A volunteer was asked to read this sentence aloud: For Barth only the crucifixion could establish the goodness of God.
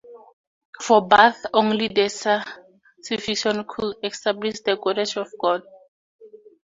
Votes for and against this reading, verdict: 2, 4, rejected